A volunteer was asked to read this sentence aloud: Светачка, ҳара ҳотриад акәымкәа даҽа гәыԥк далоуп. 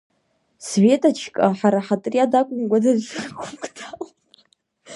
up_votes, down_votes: 2, 0